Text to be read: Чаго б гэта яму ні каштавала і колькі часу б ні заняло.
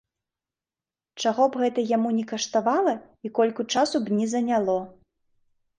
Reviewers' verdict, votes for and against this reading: rejected, 0, 2